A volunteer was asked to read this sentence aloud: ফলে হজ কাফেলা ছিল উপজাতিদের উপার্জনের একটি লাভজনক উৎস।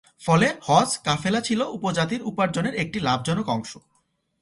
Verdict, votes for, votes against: rejected, 1, 2